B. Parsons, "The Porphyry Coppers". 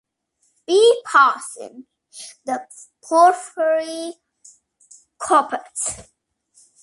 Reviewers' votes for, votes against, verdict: 2, 1, accepted